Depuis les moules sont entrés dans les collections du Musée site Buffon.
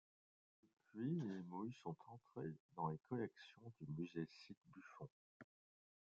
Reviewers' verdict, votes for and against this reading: rejected, 1, 2